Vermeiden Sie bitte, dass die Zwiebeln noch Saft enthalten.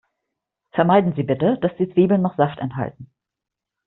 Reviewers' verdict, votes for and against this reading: accepted, 2, 0